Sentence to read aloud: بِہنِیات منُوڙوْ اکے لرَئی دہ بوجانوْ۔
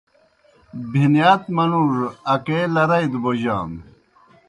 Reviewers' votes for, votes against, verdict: 2, 0, accepted